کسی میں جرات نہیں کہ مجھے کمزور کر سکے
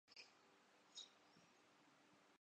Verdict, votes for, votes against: rejected, 1, 5